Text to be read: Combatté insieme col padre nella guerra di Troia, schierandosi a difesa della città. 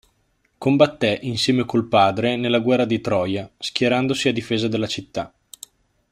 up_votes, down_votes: 2, 0